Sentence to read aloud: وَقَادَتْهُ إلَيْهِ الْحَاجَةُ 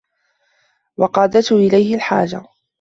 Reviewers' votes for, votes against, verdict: 2, 0, accepted